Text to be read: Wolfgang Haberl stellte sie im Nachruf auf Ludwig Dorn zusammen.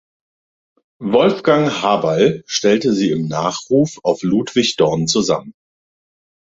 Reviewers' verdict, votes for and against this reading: accepted, 2, 0